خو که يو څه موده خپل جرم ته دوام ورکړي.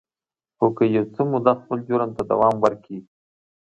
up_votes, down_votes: 2, 1